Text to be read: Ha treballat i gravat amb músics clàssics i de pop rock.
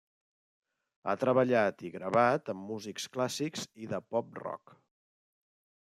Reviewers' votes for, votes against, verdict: 3, 0, accepted